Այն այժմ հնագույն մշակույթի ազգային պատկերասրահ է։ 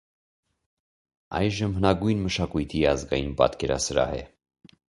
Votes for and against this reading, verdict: 0, 2, rejected